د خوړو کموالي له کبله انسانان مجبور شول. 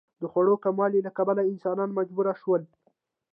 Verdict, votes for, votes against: accepted, 2, 1